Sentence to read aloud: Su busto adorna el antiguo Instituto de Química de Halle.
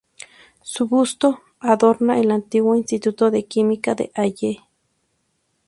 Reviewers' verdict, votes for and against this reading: rejected, 0, 2